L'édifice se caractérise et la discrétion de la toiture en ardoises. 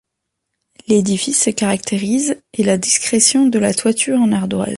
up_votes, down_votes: 0, 2